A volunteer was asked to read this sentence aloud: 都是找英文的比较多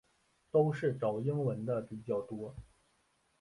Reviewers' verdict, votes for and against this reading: rejected, 2, 3